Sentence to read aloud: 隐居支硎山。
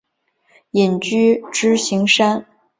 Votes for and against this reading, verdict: 4, 0, accepted